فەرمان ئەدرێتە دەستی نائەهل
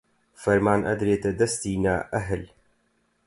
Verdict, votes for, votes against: accepted, 4, 0